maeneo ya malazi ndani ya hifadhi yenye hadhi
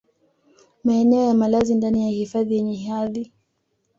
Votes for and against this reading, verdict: 2, 0, accepted